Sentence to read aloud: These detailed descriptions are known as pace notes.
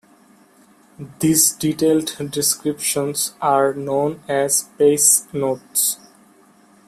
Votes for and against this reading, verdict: 0, 2, rejected